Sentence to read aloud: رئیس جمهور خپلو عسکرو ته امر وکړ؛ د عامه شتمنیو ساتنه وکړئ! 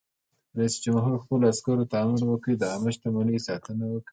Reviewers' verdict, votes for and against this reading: accepted, 2, 0